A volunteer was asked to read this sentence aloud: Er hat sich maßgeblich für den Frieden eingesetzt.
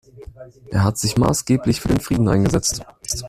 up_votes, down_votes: 1, 2